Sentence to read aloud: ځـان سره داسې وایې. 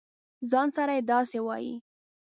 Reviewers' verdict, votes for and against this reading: accepted, 2, 0